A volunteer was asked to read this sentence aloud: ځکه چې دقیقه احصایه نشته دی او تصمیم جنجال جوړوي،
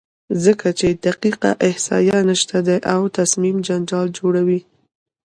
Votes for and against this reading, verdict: 1, 2, rejected